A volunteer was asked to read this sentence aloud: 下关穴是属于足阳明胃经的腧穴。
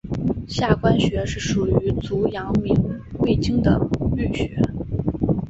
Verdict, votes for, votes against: accepted, 6, 0